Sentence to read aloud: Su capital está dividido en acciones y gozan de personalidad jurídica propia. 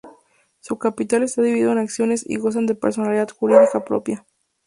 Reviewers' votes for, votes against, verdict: 2, 0, accepted